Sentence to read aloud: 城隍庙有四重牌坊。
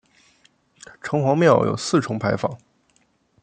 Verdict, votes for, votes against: rejected, 1, 2